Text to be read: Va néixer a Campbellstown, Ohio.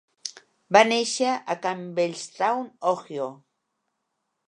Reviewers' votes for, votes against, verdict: 1, 2, rejected